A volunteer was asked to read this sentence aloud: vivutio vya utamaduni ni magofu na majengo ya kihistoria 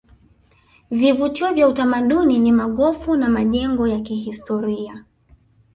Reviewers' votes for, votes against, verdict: 3, 0, accepted